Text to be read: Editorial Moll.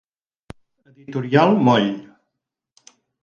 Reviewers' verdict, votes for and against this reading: rejected, 2, 4